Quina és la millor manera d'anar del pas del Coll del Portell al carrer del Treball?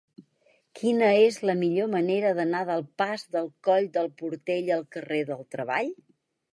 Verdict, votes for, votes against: accepted, 4, 0